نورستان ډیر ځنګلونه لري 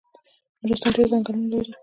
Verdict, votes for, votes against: rejected, 1, 2